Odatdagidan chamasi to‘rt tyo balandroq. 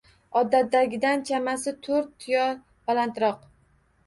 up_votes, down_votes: 2, 0